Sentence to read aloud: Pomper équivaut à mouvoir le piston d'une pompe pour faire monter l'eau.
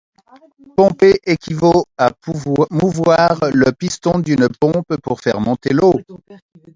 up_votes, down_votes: 0, 2